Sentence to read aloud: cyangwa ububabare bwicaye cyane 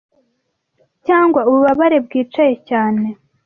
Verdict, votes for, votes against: accepted, 2, 0